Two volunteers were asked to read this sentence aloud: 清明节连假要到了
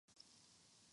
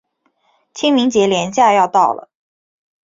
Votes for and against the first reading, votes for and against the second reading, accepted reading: 0, 3, 4, 0, second